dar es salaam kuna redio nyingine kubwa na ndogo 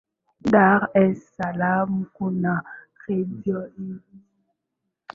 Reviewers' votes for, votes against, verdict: 0, 2, rejected